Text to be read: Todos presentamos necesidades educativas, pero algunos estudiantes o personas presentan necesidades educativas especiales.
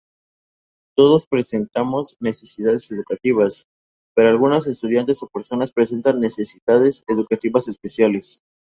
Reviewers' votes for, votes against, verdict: 2, 0, accepted